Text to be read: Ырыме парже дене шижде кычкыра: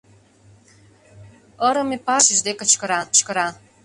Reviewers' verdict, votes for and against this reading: rejected, 0, 2